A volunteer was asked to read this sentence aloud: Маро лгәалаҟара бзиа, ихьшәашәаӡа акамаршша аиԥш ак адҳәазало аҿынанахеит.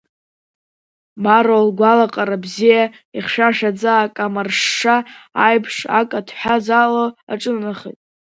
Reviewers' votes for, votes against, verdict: 1, 2, rejected